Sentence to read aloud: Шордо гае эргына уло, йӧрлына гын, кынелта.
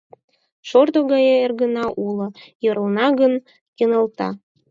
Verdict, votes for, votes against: accepted, 4, 2